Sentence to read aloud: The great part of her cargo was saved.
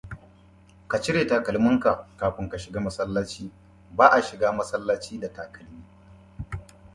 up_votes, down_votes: 0, 2